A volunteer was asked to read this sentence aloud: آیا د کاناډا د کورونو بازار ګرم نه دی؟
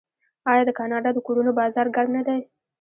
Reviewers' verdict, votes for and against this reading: rejected, 1, 2